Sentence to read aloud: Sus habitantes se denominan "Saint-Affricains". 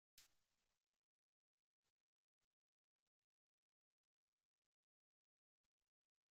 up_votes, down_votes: 0, 2